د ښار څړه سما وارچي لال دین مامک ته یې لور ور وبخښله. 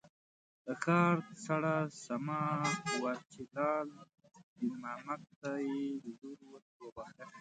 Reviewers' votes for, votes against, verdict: 0, 2, rejected